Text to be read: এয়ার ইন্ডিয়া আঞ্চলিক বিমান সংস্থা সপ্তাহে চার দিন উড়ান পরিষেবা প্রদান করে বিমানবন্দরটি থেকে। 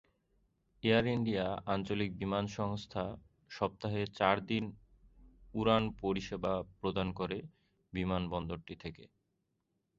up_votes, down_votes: 3, 0